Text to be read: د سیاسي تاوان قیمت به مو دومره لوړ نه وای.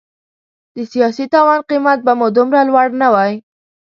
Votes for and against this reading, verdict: 2, 0, accepted